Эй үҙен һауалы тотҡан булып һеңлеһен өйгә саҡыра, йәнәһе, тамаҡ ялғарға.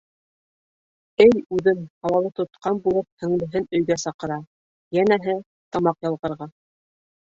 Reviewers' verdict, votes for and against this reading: accepted, 2, 0